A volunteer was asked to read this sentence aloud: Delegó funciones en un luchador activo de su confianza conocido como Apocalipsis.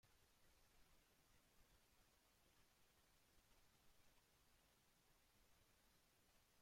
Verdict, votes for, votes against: rejected, 0, 2